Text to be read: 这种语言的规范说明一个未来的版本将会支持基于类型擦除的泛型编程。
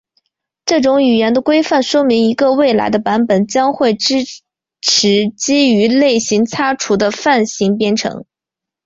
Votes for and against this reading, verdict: 2, 0, accepted